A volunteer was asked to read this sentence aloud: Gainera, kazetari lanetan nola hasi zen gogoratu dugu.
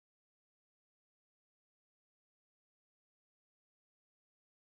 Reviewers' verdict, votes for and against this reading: rejected, 0, 2